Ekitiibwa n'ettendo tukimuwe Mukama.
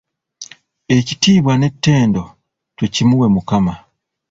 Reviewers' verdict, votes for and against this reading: accepted, 2, 0